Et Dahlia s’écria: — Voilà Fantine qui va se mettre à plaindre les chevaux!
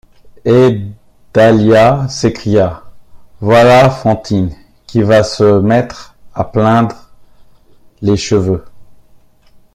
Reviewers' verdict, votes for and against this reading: rejected, 0, 2